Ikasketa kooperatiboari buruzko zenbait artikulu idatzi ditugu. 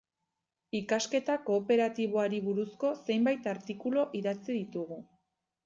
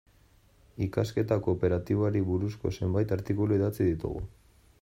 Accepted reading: second